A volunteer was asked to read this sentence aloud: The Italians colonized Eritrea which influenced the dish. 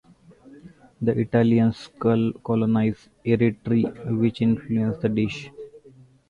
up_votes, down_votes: 0, 2